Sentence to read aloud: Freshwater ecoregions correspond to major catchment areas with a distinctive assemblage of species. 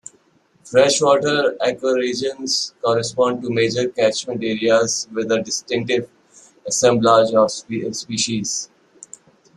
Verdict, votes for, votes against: rejected, 1, 2